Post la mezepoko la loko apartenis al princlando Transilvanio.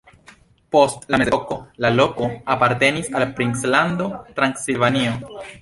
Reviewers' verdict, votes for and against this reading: rejected, 0, 2